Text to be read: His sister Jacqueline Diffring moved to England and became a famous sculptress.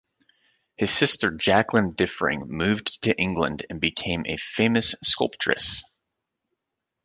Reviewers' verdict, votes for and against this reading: accepted, 2, 0